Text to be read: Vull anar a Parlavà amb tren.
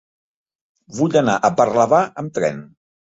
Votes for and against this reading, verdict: 3, 0, accepted